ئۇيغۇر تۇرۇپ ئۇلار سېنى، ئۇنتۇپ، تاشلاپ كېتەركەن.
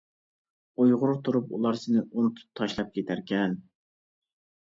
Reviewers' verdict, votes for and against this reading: accepted, 2, 0